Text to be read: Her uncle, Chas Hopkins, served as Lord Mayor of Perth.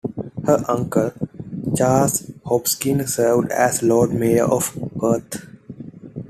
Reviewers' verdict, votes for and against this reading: accepted, 2, 1